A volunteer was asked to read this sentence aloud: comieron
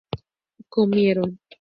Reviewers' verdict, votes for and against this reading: accepted, 2, 0